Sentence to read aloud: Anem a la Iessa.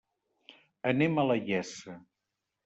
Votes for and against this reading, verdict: 1, 2, rejected